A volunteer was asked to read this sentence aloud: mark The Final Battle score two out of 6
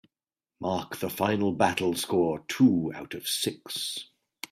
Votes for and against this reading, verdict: 0, 2, rejected